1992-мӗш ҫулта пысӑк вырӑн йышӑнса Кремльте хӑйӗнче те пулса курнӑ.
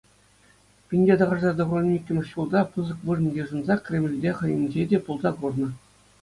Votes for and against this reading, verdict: 0, 2, rejected